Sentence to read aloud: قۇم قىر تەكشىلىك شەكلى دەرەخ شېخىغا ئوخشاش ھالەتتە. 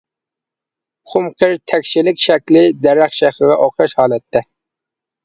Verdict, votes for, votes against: rejected, 0, 3